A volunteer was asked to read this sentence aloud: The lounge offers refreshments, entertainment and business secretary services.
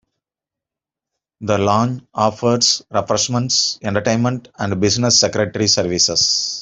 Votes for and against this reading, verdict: 2, 0, accepted